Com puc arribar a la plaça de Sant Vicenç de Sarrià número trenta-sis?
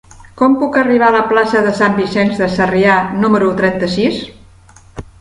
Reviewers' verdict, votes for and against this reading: accepted, 3, 1